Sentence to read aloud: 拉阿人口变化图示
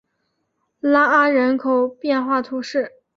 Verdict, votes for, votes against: accepted, 2, 0